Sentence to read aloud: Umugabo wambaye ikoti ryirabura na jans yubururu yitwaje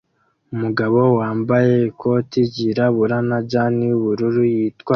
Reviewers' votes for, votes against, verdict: 0, 2, rejected